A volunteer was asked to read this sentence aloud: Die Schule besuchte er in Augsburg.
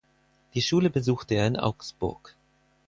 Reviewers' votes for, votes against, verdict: 4, 0, accepted